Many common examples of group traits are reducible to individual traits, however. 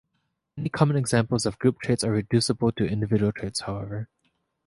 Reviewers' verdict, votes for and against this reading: accepted, 2, 0